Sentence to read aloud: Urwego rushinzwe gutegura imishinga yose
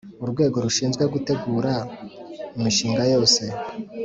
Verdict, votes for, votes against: accepted, 2, 0